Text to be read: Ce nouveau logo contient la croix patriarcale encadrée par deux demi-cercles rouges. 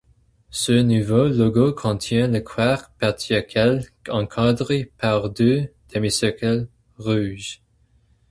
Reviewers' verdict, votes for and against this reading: rejected, 0, 2